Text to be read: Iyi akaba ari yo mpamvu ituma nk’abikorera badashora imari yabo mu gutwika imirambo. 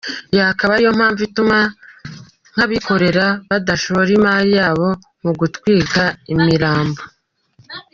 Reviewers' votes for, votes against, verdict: 2, 0, accepted